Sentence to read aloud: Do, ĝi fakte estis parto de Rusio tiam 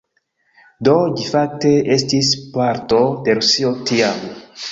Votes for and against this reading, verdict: 2, 0, accepted